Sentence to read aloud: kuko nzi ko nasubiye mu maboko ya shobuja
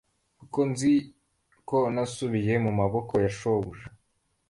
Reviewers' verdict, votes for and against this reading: accepted, 2, 0